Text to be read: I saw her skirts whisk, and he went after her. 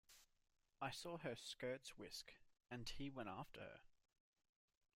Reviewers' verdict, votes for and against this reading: accepted, 2, 0